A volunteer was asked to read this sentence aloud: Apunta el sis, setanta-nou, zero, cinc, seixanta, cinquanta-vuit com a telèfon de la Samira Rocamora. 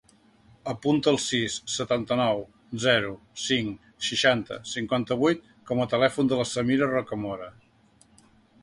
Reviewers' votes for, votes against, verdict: 2, 0, accepted